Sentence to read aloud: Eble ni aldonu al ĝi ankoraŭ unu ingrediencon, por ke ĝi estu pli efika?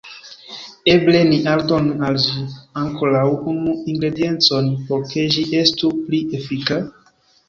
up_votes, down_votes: 1, 2